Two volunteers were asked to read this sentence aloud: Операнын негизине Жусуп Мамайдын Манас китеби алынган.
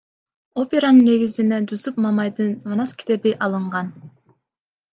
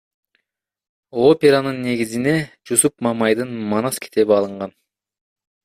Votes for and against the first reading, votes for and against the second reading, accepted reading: 2, 1, 1, 2, first